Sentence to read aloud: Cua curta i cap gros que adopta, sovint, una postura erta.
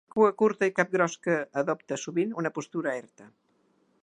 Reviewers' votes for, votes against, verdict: 2, 0, accepted